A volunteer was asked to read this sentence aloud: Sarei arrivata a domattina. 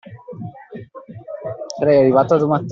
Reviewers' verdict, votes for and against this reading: rejected, 1, 2